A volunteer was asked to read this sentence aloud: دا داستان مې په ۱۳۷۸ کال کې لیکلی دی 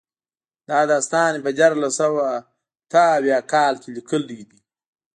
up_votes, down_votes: 0, 2